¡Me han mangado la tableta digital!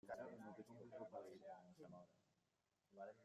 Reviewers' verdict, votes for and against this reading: rejected, 0, 2